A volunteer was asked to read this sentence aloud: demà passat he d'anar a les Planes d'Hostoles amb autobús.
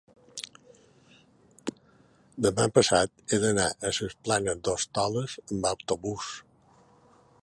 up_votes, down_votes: 1, 3